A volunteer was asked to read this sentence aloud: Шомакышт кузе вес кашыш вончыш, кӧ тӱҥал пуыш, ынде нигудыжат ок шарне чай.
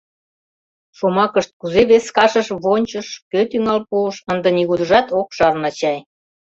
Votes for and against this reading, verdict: 2, 0, accepted